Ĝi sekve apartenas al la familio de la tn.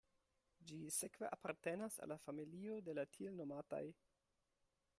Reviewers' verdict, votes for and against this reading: rejected, 1, 2